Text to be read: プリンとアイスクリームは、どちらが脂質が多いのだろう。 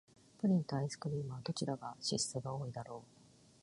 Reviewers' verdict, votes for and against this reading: accepted, 2, 0